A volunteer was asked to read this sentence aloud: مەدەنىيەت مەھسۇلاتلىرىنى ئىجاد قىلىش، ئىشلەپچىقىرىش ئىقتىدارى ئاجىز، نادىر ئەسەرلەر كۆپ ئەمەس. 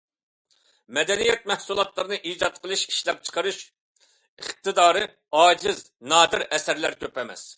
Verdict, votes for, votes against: accepted, 2, 0